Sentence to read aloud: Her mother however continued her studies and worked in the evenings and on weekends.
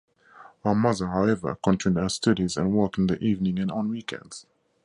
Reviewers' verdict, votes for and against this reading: accepted, 4, 0